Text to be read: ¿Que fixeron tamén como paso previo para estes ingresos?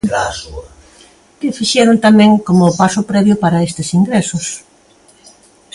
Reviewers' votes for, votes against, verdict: 2, 0, accepted